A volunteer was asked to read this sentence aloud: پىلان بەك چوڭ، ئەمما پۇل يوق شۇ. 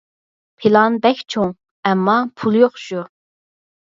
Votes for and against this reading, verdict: 4, 0, accepted